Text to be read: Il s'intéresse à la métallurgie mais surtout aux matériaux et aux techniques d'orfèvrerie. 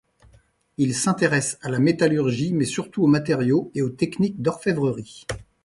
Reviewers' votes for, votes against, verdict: 2, 0, accepted